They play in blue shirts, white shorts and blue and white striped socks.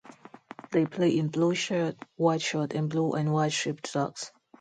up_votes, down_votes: 2, 0